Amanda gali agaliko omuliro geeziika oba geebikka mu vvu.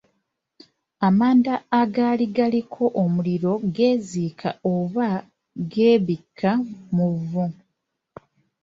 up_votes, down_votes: 0, 2